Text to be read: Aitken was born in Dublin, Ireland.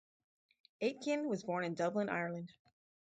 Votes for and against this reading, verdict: 4, 0, accepted